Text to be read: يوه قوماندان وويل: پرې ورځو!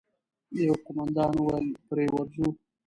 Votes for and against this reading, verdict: 1, 2, rejected